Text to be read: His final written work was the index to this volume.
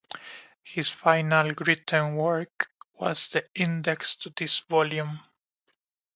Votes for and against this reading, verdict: 2, 0, accepted